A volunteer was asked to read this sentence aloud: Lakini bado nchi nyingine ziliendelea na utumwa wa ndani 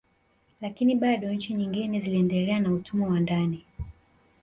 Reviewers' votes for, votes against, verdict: 2, 3, rejected